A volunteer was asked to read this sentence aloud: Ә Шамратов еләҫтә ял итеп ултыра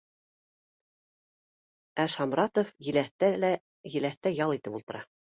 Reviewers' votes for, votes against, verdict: 0, 2, rejected